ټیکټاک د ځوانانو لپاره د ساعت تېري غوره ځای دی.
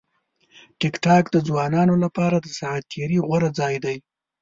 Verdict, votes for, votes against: accepted, 2, 0